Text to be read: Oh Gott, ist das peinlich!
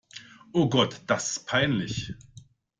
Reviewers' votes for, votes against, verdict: 0, 2, rejected